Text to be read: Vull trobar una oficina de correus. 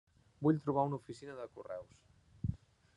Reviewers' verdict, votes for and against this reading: rejected, 1, 2